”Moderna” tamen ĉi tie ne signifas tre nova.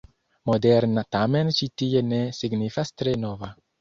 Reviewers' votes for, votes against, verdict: 2, 0, accepted